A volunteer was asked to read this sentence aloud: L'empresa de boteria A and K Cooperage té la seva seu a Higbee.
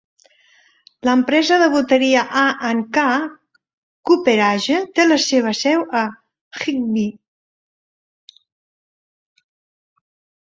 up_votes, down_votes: 2, 0